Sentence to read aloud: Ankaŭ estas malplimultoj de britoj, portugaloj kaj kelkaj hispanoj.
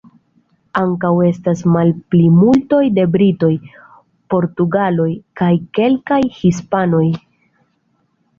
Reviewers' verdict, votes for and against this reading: rejected, 0, 2